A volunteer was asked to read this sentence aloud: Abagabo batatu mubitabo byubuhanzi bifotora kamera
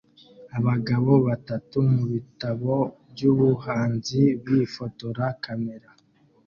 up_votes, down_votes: 2, 0